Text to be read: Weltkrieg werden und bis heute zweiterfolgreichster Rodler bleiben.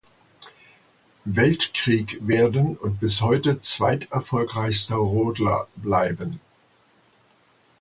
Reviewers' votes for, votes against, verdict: 2, 0, accepted